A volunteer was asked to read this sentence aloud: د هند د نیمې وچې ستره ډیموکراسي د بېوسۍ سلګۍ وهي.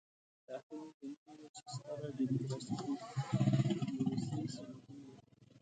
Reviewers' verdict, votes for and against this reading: rejected, 1, 4